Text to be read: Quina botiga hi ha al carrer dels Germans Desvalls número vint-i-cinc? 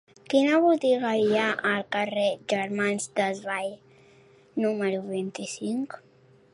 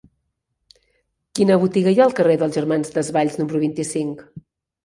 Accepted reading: second